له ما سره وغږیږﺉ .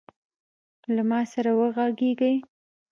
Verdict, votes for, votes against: rejected, 1, 2